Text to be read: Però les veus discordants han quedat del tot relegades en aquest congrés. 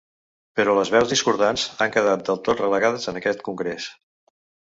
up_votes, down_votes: 2, 0